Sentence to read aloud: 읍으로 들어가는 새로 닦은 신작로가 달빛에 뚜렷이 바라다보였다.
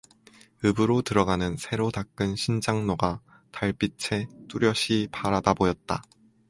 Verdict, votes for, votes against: accepted, 4, 0